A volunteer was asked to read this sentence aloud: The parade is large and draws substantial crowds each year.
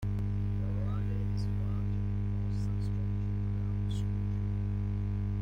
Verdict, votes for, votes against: rejected, 0, 2